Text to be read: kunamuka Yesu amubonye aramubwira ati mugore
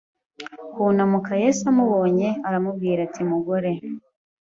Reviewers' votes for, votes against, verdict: 2, 0, accepted